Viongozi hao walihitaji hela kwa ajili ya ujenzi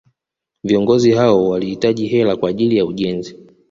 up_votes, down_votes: 0, 2